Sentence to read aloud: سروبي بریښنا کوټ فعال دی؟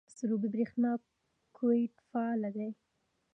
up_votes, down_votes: 2, 1